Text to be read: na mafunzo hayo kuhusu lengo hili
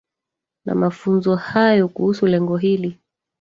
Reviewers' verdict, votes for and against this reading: rejected, 1, 2